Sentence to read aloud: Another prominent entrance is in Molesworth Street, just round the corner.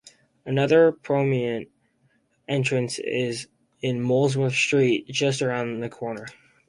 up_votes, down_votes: 0, 4